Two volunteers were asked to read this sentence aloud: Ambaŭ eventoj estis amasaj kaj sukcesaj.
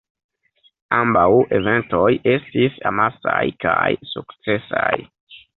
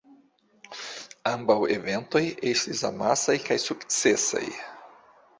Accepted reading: second